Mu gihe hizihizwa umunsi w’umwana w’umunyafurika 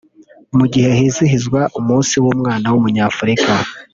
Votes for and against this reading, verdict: 0, 2, rejected